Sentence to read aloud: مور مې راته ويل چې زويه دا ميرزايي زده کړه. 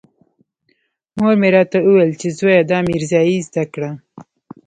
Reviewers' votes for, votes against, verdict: 0, 2, rejected